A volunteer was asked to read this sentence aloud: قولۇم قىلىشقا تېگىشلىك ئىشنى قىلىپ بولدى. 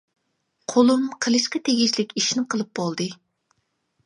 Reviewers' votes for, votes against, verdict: 2, 0, accepted